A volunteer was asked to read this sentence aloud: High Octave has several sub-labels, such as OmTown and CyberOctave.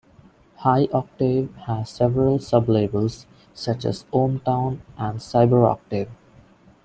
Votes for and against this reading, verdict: 2, 0, accepted